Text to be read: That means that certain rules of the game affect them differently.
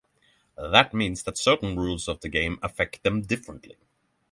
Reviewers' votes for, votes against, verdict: 6, 0, accepted